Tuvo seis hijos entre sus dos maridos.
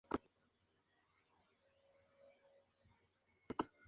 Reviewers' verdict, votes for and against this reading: rejected, 0, 2